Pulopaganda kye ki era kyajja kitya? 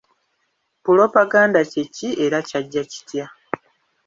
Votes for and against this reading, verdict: 0, 2, rejected